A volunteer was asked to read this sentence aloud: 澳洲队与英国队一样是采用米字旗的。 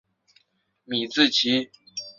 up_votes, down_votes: 0, 2